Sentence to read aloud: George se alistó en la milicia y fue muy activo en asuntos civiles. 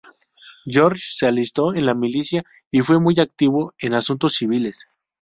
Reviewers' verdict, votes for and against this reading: accepted, 2, 0